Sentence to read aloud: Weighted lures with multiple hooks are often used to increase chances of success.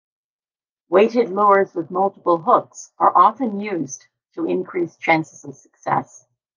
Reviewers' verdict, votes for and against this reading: accepted, 2, 0